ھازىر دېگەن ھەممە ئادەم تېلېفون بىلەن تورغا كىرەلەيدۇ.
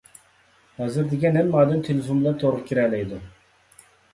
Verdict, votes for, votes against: rejected, 1, 2